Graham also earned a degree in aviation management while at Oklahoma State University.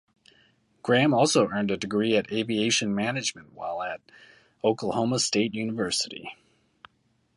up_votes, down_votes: 0, 2